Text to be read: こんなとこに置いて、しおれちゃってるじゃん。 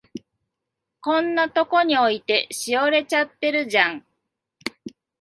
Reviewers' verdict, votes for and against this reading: accepted, 2, 0